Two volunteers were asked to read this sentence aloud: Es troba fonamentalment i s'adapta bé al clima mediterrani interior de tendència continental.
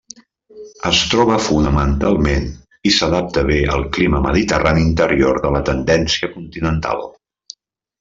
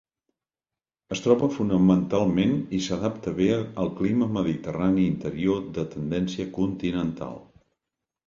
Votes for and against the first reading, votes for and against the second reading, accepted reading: 0, 2, 3, 0, second